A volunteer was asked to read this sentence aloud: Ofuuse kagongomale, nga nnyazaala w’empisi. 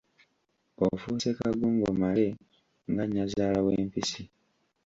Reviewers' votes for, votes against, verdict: 0, 2, rejected